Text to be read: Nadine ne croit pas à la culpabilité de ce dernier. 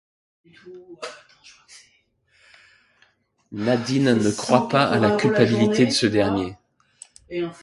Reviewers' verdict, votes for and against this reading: rejected, 1, 2